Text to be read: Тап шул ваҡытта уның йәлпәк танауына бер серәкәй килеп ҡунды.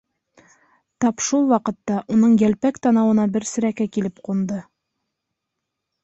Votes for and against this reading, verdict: 2, 0, accepted